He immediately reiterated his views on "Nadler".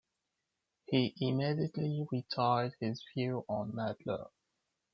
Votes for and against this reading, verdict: 2, 1, accepted